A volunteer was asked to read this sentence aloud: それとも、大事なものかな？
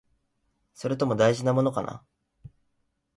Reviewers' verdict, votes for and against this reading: accepted, 3, 0